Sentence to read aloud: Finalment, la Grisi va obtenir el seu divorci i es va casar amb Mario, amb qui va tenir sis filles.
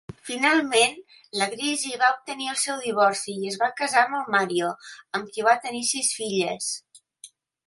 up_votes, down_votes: 1, 2